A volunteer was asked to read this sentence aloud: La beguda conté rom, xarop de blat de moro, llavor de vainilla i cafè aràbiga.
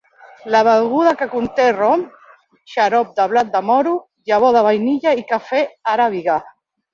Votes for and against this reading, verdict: 0, 2, rejected